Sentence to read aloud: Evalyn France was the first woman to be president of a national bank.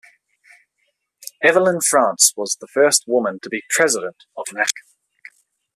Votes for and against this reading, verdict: 1, 2, rejected